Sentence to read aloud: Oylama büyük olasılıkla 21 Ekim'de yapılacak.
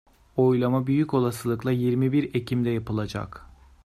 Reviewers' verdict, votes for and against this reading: rejected, 0, 2